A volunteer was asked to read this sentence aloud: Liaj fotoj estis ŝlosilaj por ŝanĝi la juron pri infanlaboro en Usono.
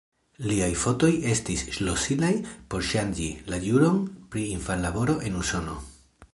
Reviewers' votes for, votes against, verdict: 3, 0, accepted